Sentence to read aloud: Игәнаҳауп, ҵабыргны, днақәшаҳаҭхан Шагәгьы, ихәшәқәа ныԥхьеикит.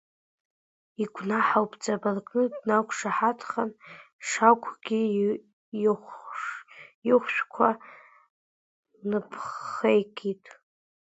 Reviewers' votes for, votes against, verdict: 0, 2, rejected